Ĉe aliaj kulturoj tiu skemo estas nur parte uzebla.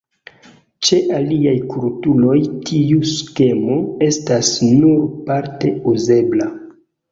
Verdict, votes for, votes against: accepted, 2, 1